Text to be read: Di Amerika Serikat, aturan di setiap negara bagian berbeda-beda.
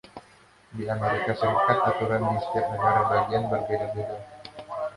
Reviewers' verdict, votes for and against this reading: accepted, 2, 1